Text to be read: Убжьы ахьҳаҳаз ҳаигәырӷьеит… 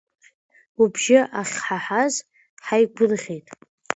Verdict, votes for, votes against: accepted, 2, 0